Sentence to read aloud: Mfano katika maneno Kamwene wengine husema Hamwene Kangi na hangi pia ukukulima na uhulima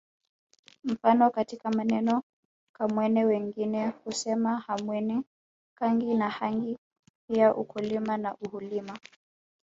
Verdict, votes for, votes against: rejected, 1, 2